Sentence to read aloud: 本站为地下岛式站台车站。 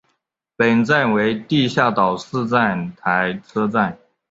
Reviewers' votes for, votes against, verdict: 2, 1, accepted